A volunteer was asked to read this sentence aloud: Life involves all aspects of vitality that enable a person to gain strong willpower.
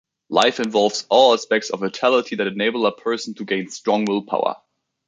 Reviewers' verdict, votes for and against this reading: accepted, 2, 0